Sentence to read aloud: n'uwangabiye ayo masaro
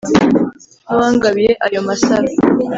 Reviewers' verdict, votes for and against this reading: accepted, 3, 0